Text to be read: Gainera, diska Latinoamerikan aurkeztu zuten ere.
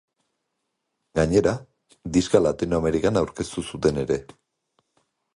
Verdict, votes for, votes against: accepted, 2, 0